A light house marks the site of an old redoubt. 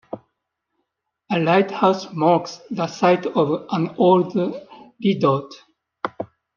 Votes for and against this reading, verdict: 1, 2, rejected